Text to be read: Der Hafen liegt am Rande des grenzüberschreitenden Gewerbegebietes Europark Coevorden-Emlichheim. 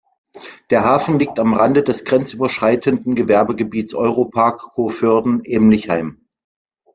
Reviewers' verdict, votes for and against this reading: accepted, 2, 0